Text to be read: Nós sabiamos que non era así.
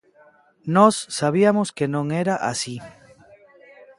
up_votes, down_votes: 0, 2